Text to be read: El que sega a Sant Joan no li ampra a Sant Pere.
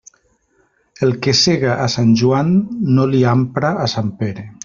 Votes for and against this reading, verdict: 3, 0, accepted